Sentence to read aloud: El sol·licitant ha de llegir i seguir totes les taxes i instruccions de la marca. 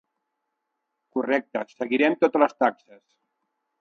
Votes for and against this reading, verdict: 1, 2, rejected